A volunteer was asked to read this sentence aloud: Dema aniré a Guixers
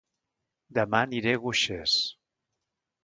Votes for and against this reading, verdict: 0, 2, rejected